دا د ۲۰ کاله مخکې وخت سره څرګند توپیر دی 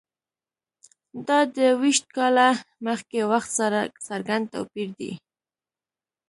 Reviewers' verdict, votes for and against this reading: rejected, 0, 2